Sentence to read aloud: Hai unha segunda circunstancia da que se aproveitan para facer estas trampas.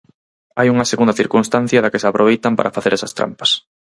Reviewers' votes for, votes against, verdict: 0, 4, rejected